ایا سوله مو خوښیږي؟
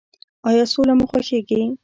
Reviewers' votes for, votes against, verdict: 0, 2, rejected